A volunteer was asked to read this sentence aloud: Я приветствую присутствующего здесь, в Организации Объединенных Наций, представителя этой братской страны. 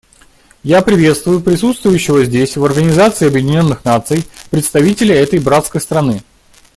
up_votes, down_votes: 2, 0